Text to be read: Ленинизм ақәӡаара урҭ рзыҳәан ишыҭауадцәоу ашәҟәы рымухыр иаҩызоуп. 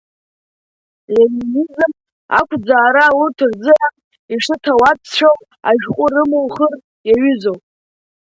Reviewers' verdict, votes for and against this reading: accepted, 2, 0